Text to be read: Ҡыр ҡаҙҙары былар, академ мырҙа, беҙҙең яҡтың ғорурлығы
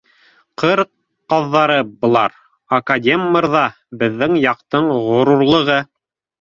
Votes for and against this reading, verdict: 2, 0, accepted